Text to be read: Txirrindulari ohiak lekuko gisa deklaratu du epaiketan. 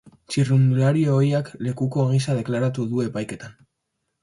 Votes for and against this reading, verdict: 2, 0, accepted